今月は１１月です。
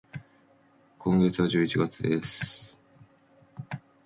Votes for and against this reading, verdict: 0, 2, rejected